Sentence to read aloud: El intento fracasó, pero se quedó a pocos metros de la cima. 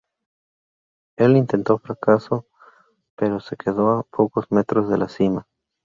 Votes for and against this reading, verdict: 0, 2, rejected